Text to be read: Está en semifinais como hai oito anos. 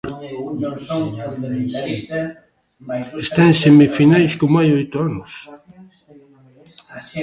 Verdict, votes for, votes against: accepted, 2, 1